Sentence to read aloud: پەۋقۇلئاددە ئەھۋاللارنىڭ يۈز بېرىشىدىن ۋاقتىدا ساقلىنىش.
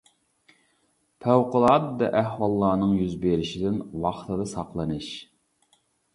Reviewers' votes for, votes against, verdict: 2, 0, accepted